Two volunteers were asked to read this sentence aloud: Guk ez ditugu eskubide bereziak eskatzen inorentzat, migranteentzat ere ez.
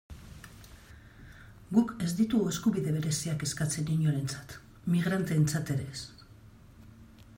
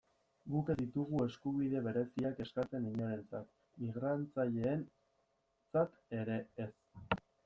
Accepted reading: first